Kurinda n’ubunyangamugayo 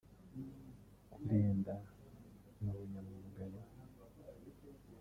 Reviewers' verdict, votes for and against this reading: rejected, 0, 2